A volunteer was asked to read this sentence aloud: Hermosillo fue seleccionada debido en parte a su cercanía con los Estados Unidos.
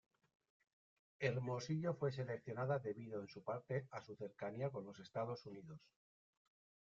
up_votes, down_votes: 1, 2